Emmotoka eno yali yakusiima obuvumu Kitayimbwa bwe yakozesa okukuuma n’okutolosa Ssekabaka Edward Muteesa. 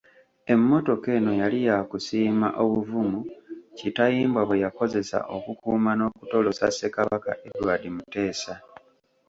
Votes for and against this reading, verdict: 2, 0, accepted